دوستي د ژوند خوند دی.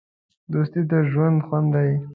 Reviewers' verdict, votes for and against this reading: accepted, 2, 0